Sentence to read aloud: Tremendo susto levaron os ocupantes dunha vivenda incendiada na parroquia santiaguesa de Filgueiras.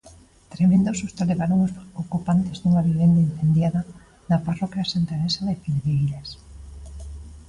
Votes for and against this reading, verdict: 2, 0, accepted